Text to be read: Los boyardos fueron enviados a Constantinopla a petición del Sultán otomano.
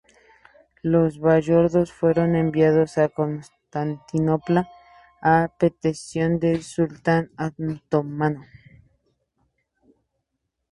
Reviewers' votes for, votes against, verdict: 0, 2, rejected